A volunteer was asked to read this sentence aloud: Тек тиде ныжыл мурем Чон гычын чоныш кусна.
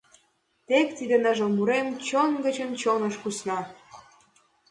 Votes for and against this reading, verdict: 2, 0, accepted